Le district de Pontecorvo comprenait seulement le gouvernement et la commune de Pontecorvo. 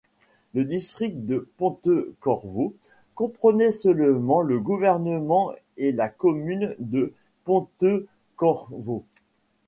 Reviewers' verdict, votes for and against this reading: rejected, 1, 2